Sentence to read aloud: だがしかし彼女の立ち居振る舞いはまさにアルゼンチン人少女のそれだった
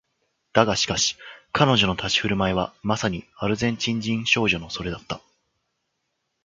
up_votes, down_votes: 3, 1